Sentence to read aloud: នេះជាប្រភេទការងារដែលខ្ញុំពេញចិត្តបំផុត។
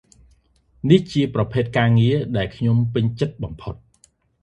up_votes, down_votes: 2, 0